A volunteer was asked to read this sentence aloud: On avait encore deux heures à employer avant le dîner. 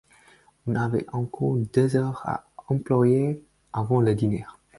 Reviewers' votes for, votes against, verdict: 0, 4, rejected